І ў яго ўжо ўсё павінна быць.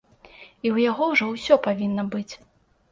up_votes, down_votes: 2, 0